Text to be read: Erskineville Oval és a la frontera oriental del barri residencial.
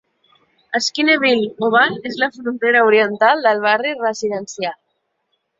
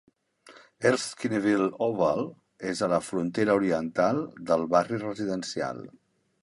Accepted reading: second